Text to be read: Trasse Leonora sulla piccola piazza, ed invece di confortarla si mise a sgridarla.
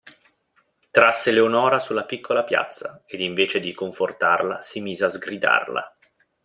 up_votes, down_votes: 2, 0